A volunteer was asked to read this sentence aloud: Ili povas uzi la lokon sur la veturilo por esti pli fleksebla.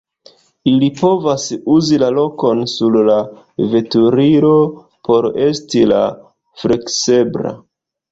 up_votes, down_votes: 1, 2